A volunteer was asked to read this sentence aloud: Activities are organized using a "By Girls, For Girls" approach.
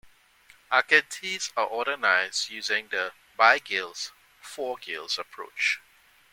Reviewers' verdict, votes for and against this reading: rejected, 0, 2